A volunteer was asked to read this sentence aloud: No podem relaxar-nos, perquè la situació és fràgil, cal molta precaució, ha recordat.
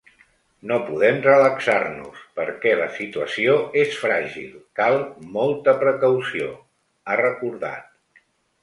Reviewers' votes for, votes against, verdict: 3, 0, accepted